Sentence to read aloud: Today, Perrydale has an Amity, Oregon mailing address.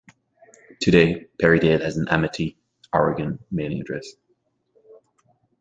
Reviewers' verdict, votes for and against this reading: accepted, 2, 0